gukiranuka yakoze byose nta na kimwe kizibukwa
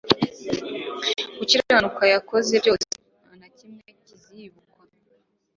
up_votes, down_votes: 2, 3